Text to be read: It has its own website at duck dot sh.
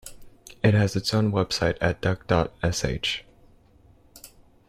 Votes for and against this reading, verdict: 2, 0, accepted